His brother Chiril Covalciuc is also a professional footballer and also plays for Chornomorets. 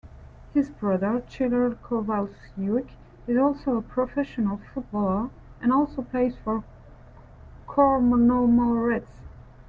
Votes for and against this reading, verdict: 0, 2, rejected